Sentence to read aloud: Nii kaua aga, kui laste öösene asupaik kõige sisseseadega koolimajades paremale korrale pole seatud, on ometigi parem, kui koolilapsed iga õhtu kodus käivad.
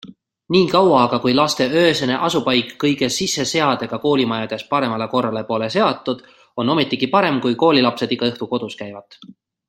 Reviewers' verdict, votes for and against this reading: accepted, 2, 0